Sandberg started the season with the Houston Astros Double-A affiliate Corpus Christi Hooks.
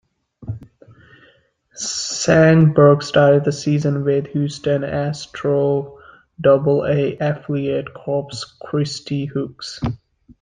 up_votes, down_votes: 2, 0